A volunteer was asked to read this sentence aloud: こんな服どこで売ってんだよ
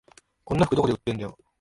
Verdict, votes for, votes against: accepted, 4, 1